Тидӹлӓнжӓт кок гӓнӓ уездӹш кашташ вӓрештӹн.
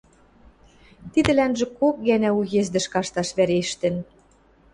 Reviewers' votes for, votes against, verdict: 0, 2, rejected